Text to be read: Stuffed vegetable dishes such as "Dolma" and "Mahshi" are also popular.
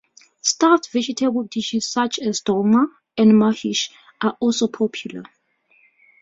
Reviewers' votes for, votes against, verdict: 0, 2, rejected